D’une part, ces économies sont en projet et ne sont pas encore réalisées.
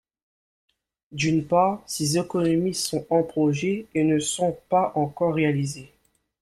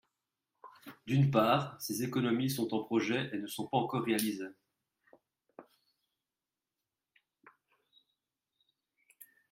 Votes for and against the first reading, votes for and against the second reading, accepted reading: 2, 0, 1, 3, first